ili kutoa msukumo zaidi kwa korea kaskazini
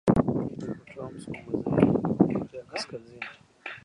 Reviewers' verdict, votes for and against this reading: rejected, 0, 2